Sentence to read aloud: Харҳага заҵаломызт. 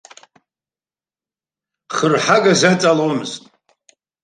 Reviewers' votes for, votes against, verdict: 2, 1, accepted